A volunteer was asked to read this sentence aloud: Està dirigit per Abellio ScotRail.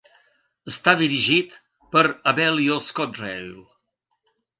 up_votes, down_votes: 3, 0